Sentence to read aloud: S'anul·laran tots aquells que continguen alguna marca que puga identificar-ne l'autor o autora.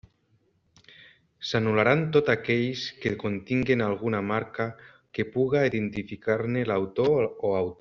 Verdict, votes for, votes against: rejected, 0, 2